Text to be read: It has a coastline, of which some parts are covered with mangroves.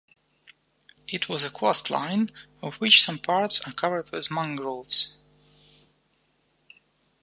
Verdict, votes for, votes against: rejected, 1, 2